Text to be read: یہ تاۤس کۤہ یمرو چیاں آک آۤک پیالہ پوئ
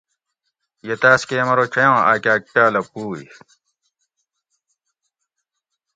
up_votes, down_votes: 2, 0